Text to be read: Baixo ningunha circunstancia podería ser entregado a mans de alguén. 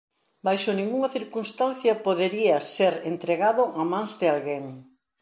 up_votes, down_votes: 2, 0